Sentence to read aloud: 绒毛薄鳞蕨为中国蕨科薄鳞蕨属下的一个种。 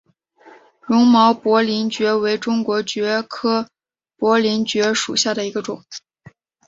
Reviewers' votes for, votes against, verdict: 4, 2, accepted